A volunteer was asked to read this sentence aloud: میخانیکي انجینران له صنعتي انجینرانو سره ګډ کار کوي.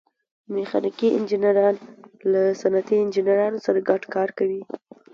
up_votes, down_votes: 2, 0